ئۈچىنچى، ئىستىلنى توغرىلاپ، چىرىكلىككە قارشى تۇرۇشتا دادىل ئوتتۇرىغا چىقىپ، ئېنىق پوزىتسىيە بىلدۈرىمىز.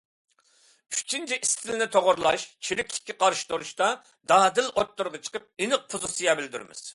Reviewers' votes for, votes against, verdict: 2, 1, accepted